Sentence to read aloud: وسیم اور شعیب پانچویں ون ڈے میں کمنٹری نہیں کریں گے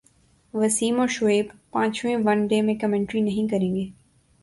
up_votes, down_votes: 2, 0